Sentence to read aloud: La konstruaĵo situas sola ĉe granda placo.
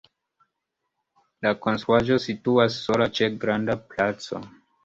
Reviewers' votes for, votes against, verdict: 2, 1, accepted